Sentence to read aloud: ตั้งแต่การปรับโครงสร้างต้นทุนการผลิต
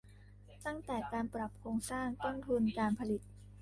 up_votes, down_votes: 1, 2